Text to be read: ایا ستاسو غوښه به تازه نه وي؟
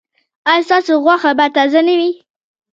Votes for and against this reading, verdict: 2, 0, accepted